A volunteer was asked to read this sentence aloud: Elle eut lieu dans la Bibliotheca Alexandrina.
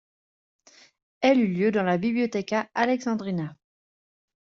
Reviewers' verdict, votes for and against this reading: accepted, 2, 0